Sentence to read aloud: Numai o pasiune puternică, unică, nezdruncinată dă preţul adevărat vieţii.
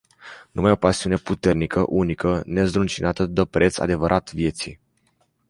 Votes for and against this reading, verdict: 0, 2, rejected